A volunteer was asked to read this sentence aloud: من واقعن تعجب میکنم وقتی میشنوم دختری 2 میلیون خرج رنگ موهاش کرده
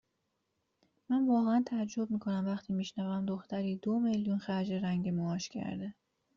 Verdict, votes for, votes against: rejected, 0, 2